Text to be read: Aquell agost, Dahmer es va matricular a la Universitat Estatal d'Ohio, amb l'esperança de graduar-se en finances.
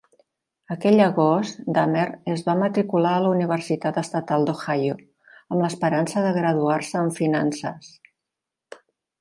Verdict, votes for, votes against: accepted, 2, 0